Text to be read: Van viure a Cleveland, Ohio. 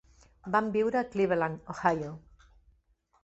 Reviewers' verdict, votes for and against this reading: accepted, 3, 0